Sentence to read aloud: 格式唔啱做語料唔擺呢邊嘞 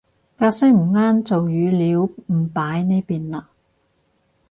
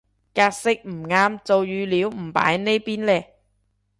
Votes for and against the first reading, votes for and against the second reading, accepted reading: 2, 2, 2, 0, second